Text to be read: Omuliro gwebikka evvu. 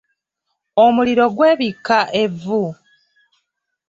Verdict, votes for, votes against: accepted, 2, 0